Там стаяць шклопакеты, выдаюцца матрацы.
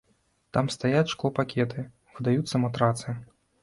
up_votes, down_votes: 2, 0